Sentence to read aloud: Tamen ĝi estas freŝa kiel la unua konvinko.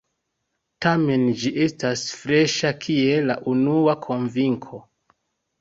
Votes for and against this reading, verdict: 2, 1, accepted